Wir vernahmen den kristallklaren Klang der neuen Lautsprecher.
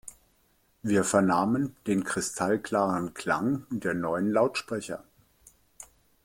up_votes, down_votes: 1, 2